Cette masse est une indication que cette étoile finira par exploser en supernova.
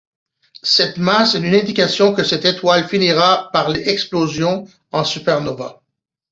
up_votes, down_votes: 0, 2